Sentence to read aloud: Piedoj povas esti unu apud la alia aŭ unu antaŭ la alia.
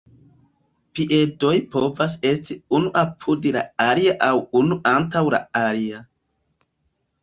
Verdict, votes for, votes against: rejected, 0, 2